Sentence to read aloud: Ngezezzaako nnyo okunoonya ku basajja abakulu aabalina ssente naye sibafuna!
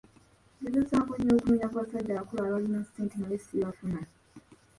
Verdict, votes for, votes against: accepted, 2, 0